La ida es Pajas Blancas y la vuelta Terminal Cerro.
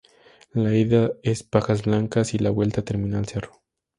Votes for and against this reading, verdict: 4, 0, accepted